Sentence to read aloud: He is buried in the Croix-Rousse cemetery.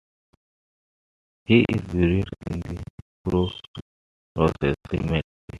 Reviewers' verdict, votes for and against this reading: rejected, 0, 2